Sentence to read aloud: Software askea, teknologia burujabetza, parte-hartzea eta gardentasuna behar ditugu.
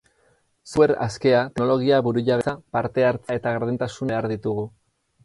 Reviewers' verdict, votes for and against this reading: rejected, 0, 4